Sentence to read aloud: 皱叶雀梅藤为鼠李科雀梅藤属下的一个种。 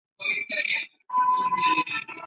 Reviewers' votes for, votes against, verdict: 7, 3, accepted